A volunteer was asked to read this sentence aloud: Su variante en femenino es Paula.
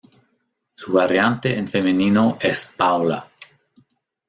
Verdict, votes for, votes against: accepted, 2, 0